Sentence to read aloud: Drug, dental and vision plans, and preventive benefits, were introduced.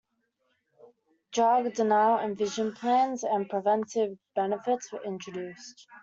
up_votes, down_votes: 1, 2